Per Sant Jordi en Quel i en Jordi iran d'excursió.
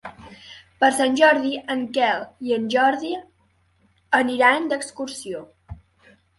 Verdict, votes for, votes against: rejected, 1, 2